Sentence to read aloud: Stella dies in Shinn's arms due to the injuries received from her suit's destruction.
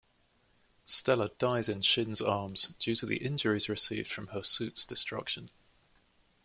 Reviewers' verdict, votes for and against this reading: accepted, 2, 0